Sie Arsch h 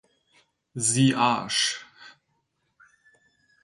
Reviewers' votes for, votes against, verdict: 0, 4, rejected